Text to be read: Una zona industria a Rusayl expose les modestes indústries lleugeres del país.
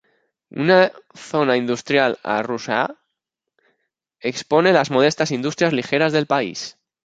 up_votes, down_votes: 0, 2